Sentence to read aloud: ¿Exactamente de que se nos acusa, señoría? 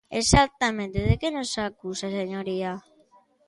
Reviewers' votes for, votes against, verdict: 0, 2, rejected